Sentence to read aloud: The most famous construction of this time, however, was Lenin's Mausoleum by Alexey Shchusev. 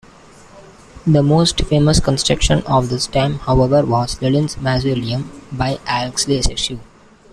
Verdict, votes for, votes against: rejected, 1, 2